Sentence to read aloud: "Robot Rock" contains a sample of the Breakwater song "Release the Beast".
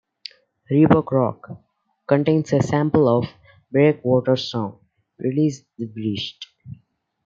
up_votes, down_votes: 0, 2